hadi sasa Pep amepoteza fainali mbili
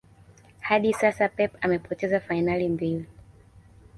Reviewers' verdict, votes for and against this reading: accepted, 2, 0